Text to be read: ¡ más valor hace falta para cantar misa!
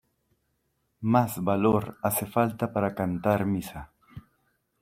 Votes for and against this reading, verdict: 2, 0, accepted